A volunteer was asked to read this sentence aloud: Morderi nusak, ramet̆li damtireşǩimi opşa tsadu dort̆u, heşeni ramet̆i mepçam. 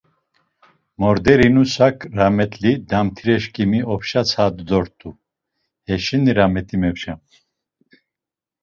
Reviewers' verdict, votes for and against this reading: accepted, 2, 0